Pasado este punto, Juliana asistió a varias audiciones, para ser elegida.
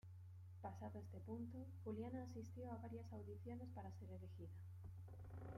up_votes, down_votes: 0, 2